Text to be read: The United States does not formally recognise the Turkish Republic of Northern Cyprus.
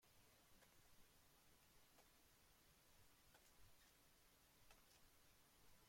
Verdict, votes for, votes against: rejected, 0, 2